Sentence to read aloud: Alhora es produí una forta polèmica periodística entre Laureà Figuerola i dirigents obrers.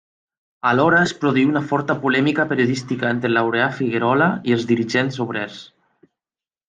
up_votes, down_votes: 1, 2